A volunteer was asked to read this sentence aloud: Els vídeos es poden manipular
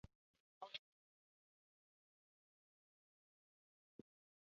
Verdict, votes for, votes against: rejected, 0, 2